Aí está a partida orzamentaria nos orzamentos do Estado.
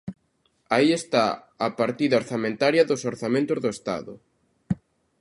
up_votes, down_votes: 0, 2